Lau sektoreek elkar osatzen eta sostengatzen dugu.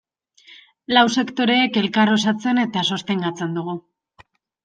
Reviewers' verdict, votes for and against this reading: accepted, 2, 0